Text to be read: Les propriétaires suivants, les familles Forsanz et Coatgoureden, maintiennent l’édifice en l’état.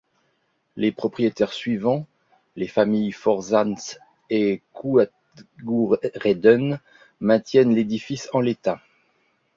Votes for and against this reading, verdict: 1, 2, rejected